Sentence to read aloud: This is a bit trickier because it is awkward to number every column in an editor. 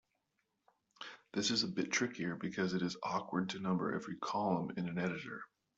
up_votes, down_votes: 3, 0